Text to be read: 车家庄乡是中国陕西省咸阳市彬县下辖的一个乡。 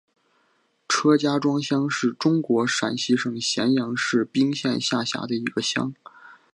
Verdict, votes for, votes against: accepted, 3, 1